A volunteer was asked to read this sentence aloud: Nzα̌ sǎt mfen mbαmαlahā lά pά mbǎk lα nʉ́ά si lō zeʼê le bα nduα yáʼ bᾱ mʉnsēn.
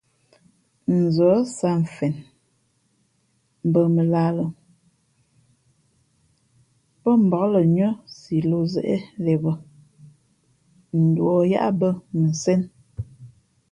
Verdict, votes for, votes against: accepted, 3, 0